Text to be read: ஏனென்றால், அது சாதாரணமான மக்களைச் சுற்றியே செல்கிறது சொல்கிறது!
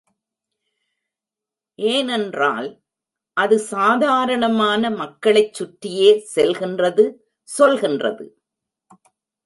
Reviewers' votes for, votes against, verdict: 0, 2, rejected